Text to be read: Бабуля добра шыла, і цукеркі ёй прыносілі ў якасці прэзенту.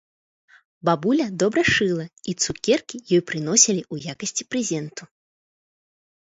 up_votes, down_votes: 2, 0